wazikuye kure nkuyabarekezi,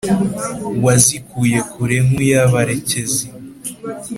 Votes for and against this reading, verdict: 2, 0, accepted